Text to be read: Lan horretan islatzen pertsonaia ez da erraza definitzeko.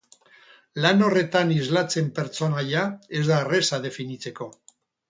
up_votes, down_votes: 2, 2